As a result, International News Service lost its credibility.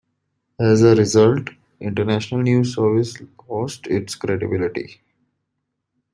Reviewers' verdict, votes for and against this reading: accepted, 2, 0